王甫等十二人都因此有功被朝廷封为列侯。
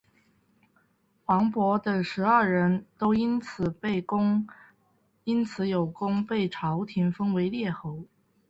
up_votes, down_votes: 1, 2